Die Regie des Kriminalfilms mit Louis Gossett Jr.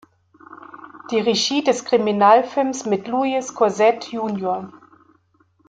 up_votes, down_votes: 2, 0